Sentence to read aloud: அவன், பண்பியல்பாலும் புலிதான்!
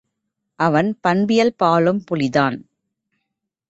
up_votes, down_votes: 2, 1